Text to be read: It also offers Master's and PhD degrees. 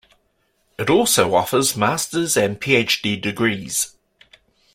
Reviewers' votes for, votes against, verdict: 2, 0, accepted